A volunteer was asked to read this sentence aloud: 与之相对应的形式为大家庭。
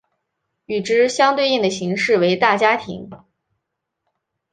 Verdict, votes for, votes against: accepted, 3, 0